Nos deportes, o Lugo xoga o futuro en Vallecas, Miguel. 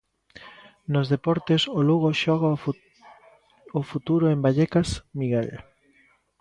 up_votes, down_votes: 0, 2